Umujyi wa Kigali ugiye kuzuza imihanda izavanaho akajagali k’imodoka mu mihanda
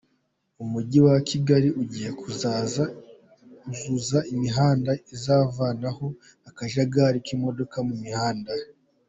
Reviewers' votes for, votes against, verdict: 2, 3, rejected